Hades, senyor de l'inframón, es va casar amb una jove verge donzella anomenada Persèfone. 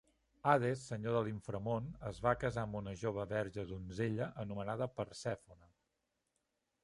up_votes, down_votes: 1, 2